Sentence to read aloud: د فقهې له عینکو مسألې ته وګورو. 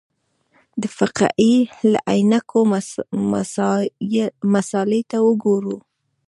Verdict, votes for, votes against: rejected, 1, 2